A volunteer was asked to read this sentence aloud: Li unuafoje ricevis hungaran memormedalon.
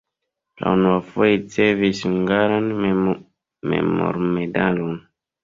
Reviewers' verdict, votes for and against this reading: rejected, 1, 2